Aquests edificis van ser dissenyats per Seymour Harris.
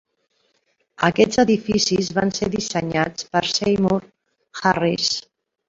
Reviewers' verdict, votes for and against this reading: rejected, 0, 2